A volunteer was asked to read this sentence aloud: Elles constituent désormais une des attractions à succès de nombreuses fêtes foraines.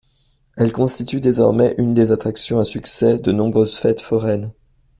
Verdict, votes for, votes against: accepted, 2, 0